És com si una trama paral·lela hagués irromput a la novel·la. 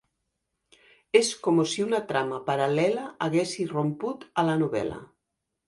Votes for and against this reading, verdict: 0, 2, rejected